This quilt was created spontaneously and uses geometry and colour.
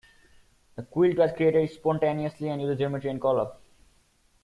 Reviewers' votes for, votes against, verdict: 0, 4, rejected